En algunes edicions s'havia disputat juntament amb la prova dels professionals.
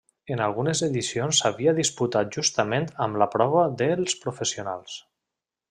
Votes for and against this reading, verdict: 0, 2, rejected